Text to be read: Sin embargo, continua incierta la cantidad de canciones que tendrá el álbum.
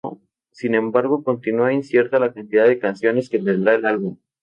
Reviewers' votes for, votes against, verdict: 2, 0, accepted